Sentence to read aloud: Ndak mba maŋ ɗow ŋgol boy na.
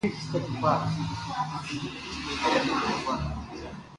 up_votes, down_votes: 0, 2